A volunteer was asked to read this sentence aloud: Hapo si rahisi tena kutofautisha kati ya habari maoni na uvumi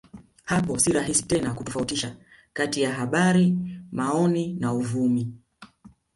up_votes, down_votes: 1, 2